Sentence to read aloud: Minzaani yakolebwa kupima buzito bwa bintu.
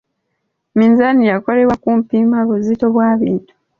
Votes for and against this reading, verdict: 1, 2, rejected